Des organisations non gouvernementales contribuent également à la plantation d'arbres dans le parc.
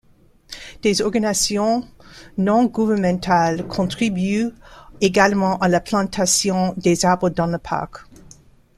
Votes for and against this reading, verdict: 1, 2, rejected